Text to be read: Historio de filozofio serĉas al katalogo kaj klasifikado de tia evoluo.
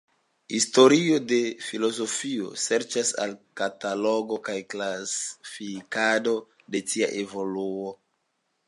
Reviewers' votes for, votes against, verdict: 2, 1, accepted